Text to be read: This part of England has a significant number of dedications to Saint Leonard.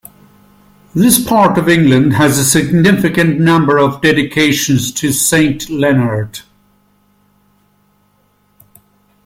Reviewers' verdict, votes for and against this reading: accepted, 2, 0